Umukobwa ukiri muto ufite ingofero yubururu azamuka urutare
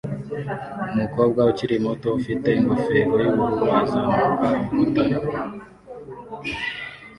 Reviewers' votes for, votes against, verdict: 1, 2, rejected